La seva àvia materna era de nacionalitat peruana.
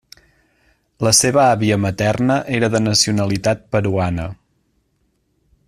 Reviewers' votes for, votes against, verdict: 3, 0, accepted